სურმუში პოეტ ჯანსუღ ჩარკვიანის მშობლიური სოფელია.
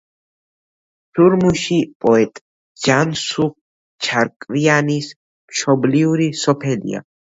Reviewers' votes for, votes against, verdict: 1, 2, rejected